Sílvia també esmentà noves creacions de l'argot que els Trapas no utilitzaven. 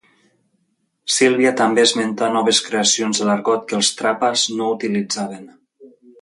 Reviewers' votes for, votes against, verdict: 2, 0, accepted